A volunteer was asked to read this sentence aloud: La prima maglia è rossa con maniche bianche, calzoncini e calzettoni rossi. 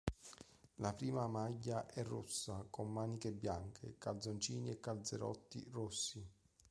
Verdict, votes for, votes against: rejected, 0, 2